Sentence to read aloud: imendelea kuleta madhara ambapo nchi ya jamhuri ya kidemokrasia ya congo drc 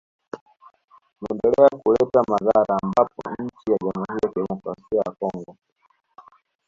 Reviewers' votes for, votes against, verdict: 1, 2, rejected